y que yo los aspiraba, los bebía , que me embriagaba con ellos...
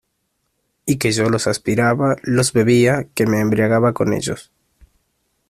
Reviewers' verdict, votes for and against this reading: accepted, 2, 0